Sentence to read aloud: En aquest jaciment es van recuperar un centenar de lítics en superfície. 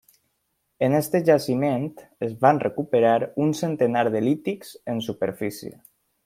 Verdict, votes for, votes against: rejected, 1, 2